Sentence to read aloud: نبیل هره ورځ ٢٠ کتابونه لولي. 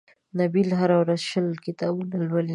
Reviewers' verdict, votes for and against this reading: rejected, 0, 2